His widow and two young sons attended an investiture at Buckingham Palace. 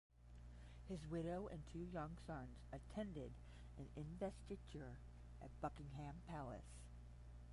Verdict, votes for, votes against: rejected, 0, 5